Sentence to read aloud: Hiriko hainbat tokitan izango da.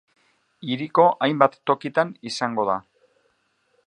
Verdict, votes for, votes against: accepted, 2, 0